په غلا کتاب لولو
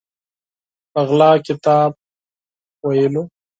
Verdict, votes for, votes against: rejected, 0, 4